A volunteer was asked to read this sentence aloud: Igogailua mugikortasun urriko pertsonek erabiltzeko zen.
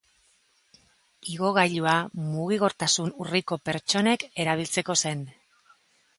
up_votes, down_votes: 2, 0